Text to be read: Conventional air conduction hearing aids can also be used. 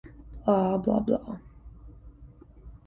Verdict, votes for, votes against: rejected, 0, 2